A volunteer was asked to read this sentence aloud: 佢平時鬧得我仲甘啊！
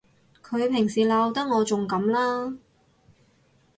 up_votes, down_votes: 0, 2